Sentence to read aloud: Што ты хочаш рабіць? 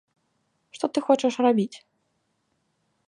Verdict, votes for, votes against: accepted, 2, 0